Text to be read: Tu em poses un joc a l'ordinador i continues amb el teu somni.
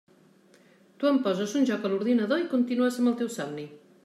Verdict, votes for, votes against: accepted, 3, 0